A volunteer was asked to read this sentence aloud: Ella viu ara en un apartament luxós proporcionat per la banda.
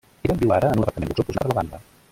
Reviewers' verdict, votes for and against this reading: rejected, 0, 2